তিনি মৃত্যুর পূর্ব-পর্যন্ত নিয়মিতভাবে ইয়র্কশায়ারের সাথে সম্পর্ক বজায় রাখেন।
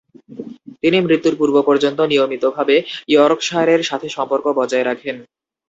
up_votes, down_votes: 0, 2